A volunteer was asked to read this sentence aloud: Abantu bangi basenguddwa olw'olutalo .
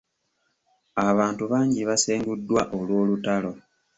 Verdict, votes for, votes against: rejected, 0, 2